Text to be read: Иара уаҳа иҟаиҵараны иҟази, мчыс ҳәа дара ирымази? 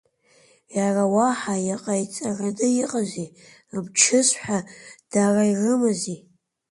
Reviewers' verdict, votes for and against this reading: rejected, 0, 2